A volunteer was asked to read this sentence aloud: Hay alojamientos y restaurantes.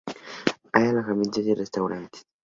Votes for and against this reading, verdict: 0, 2, rejected